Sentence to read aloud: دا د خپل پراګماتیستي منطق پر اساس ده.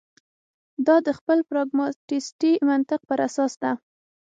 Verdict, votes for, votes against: accepted, 6, 0